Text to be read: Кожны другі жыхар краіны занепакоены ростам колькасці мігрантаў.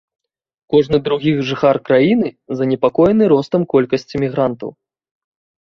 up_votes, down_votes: 2, 0